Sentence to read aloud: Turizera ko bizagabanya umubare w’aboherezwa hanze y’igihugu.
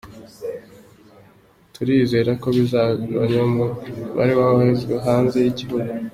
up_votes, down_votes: 2, 1